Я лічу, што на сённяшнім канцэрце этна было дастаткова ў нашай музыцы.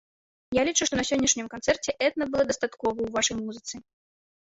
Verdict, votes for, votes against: rejected, 1, 2